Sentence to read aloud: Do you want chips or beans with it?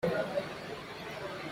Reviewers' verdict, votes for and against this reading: rejected, 0, 2